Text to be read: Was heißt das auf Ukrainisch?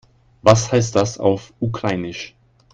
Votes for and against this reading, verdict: 1, 2, rejected